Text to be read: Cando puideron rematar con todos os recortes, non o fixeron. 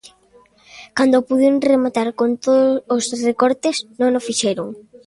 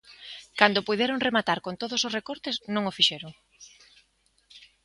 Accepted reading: second